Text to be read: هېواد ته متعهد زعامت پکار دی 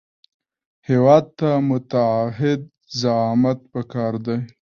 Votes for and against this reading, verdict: 1, 2, rejected